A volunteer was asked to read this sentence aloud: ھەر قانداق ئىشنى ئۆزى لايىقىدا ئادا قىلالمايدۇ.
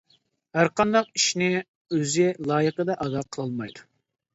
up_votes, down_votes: 2, 0